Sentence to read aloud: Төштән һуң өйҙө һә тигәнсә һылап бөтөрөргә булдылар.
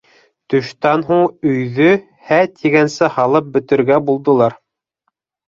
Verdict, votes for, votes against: rejected, 1, 2